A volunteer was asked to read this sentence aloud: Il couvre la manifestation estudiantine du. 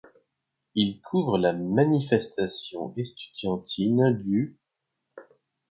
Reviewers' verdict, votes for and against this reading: accepted, 2, 0